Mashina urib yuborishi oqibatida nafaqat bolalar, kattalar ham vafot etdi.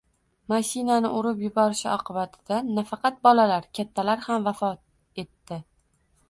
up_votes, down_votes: 0, 2